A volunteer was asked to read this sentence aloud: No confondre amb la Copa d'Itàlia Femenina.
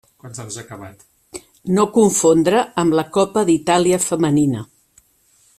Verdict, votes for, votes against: accepted, 3, 1